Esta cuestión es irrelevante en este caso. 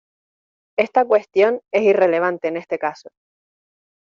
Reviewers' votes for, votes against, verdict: 2, 0, accepted